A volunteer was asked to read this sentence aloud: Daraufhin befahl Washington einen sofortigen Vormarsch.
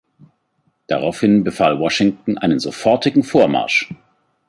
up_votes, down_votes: 2, 0